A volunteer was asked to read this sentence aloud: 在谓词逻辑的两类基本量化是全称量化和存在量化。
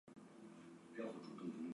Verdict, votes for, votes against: rejected, 0, 2